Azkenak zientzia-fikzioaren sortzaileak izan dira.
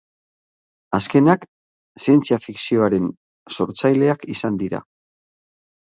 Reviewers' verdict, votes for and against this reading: accepted, 8, 3